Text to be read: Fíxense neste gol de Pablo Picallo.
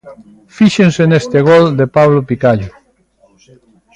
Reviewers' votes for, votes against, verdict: 1, 2, rejected